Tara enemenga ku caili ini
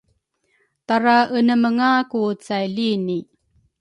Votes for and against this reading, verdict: 1, 2, rejected